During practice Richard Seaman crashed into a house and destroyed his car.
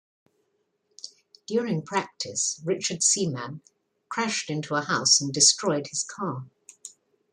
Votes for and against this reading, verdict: 2, 1, accepted